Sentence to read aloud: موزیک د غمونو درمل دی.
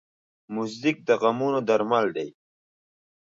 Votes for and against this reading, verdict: 2, 0, accepted